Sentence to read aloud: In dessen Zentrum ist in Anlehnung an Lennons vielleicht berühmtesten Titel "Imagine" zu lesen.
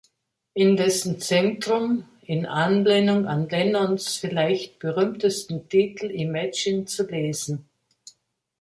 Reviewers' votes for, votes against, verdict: 2, 0, accepted